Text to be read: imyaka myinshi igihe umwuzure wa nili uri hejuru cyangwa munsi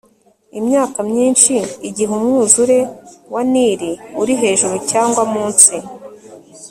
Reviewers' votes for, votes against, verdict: 3, 0, accepted